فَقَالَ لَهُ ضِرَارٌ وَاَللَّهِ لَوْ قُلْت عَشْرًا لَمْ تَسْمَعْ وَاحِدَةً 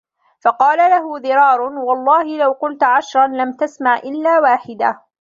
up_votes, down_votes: 0, 2